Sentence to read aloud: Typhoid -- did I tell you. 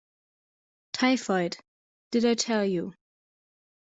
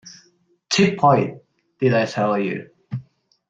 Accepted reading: first